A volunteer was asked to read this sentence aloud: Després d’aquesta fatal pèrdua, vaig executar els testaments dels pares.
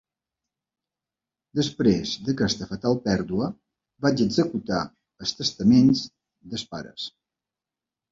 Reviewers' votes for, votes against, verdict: 1, 2, rejected